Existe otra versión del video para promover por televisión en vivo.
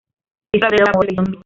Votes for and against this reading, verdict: 0, 2, rejected